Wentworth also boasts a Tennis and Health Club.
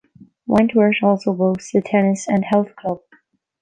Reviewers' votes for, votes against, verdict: 1, 2, rejected